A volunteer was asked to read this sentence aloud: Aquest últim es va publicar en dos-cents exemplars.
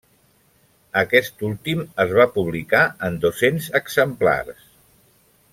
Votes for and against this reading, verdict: 1, 2, rejected